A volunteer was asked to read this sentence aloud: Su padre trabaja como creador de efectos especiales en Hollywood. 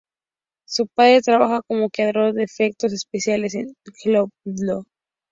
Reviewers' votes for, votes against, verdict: 0, 2, rejected